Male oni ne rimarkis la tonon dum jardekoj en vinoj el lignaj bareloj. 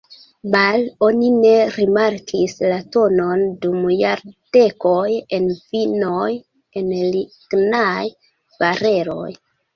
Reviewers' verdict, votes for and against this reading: rejected, 0, 2